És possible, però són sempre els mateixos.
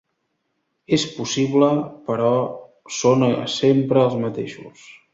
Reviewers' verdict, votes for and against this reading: rejected, 1, 2